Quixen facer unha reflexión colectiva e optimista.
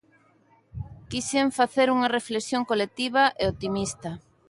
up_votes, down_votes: 2, 0